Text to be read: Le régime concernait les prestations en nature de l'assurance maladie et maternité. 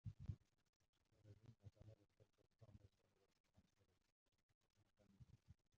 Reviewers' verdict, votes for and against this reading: rejected, 0, 2